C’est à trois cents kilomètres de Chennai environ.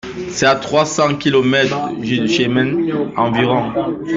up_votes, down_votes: 1, 2